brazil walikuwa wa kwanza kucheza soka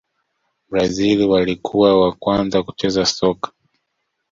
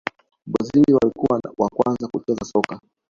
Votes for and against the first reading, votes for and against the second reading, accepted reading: 2, 0, 1, 2, first